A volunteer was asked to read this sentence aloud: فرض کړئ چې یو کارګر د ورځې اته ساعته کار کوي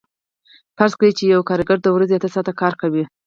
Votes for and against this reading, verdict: 4, 0, accepted